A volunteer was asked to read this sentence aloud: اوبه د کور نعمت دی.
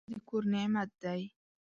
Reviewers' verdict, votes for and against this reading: rejected, 0, 2